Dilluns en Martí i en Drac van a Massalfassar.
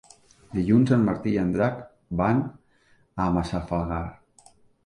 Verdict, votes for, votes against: rejected, 1, 2